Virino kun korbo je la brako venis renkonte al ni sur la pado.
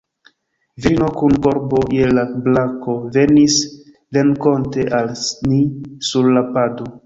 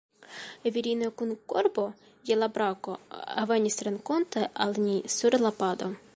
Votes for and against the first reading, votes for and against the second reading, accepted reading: 1, 2, 2, 0, second